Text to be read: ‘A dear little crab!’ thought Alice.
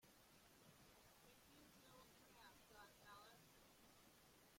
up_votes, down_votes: 0, 2